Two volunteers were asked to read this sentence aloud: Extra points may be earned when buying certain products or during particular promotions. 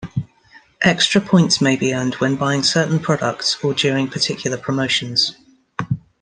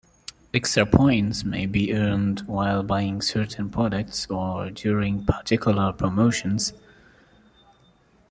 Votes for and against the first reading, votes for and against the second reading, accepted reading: 2, 0, 1, 2, first